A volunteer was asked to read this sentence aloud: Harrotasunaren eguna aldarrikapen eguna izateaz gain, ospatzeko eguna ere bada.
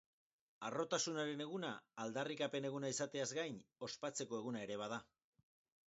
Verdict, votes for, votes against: rejected, 2, 2